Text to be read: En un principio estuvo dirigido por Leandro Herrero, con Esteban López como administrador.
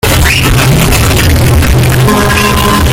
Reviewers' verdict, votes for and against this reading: rejected, 0, 2